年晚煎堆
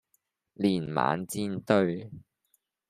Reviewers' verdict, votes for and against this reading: accepted, 2, 0